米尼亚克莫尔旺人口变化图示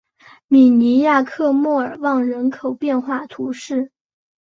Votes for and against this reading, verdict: 5, 0, accepted